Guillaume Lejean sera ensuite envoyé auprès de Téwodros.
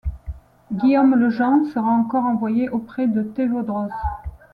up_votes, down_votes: 1, 2